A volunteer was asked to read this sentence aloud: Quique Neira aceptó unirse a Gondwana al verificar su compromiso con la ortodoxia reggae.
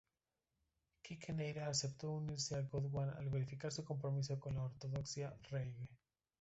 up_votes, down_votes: 2, 0